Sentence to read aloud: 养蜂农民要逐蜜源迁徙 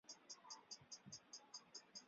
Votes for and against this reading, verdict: 1, 2, rejected